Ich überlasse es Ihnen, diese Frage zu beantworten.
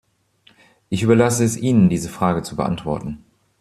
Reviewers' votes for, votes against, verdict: 2, 0, accepted